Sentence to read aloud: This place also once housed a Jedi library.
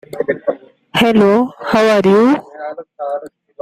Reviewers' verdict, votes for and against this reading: rejected, 0, 2